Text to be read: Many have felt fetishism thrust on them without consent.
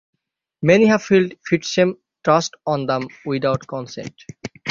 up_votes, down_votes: 3, 6